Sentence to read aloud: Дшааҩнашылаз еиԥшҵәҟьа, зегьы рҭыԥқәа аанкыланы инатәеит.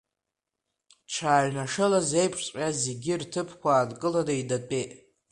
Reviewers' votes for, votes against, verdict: 2, 0, accepted